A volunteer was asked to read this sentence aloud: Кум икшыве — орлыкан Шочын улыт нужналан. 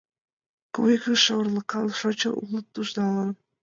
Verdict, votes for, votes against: accepted, 2, 1